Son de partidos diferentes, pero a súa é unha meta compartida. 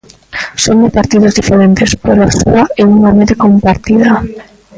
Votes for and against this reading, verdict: 0, 2, rejected